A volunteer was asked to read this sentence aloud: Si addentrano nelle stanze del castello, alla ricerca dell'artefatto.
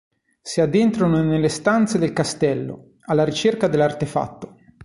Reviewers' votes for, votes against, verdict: 2, 0, accepted